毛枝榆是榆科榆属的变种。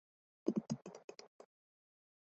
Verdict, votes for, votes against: rejected, 0, 2